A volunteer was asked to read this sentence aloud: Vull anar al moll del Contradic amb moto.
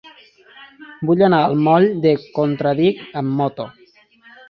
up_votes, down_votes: 0, 2